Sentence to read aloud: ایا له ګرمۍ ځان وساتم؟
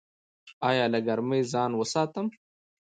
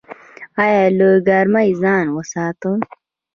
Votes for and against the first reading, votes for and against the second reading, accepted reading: 1, 2, 2, 0, second